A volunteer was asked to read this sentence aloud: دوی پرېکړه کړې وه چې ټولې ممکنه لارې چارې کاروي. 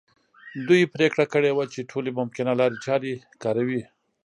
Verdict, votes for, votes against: accepted, 2, 0